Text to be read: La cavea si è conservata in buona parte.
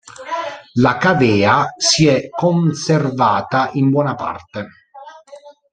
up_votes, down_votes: 1, 2